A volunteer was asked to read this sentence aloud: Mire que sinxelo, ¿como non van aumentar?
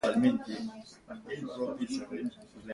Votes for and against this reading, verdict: 0, 2, rejected